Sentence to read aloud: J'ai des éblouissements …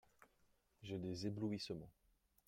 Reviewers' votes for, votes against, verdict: 0, 2, rejected